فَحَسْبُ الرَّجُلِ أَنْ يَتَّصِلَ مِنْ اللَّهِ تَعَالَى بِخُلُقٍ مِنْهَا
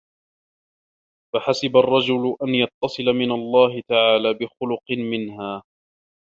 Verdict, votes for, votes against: rejected, 0, 2